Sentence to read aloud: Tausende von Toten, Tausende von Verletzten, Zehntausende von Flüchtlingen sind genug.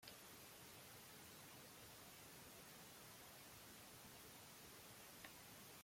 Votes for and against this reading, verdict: 0, 2, rejected